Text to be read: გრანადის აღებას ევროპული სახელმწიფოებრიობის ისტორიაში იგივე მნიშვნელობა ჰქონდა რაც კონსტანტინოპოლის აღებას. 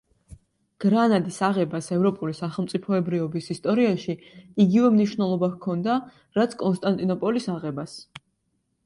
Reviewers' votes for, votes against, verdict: 2, 0, accepted